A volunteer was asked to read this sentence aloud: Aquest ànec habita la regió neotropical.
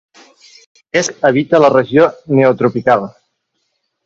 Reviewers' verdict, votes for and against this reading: rejected, 1, 2